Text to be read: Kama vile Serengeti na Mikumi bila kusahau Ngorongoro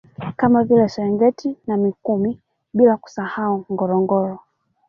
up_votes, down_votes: 0, 2